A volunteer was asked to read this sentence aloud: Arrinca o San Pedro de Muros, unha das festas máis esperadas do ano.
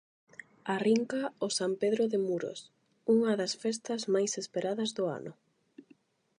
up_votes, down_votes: 8, 0